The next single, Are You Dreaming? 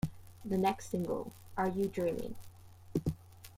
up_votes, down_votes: 2, 0